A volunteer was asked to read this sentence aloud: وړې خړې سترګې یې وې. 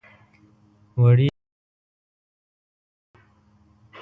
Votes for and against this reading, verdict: 1, 2, rejected